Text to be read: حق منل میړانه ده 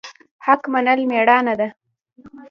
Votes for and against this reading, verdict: 0, 2, rejected